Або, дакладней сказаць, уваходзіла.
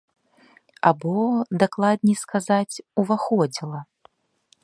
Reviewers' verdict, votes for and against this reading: accepted, 2, 0